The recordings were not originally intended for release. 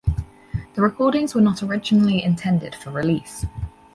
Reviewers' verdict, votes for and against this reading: accepted, 4, 0